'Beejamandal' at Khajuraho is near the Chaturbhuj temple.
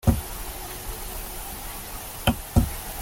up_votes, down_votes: 0, 2